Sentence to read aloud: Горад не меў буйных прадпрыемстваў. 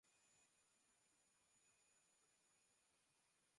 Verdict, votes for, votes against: rejected, 0, 2